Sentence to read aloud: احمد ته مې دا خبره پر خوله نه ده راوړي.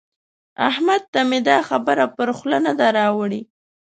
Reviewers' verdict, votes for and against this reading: accepted, 2, 0